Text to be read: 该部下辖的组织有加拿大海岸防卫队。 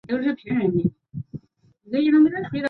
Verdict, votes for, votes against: rejected, 0, 2